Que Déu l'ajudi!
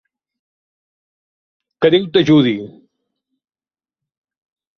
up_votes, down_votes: 0, 2